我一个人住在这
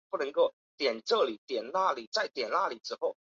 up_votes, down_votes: 0, 2